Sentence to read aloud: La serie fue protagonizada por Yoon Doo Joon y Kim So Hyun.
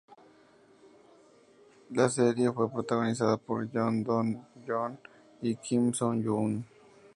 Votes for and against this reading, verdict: 2, 0, accepted